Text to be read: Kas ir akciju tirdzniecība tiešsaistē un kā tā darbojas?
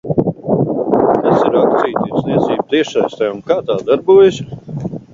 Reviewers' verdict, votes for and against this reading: rejected, 0, 3